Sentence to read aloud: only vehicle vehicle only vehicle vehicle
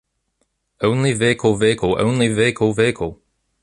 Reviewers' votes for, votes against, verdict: 2, 0, accepted